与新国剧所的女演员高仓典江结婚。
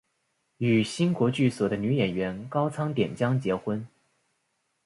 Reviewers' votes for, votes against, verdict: 3, 4, rejected